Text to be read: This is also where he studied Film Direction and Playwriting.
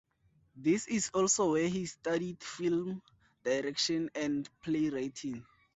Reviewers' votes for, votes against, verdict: 2, 0, accepted